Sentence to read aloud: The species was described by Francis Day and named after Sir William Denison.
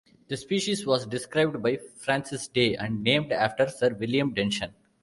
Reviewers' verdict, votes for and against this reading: rejected, 0, 2